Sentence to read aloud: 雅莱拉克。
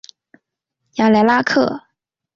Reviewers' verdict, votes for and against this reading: accepted, 5, 0